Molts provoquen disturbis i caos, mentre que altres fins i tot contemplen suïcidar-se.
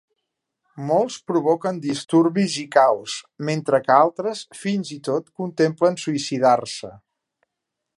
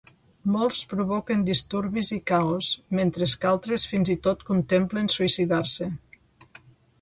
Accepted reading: first